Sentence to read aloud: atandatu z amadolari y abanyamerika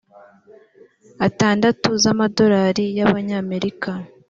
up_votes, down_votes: 3, 0